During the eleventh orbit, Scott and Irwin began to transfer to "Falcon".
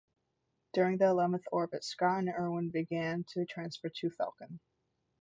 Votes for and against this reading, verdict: 2, 0, accepted